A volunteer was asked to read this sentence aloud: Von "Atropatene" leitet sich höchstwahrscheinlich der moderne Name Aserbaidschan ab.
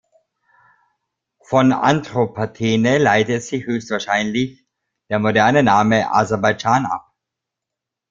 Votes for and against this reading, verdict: 0, 2, rejected